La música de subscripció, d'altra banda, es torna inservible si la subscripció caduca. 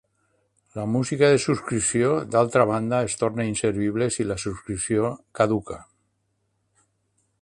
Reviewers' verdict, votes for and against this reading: accepted, 3, 0